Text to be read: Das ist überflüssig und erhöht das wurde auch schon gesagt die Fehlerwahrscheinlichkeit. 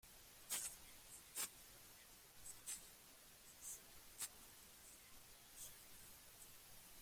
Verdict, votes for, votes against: rejected, 0, 2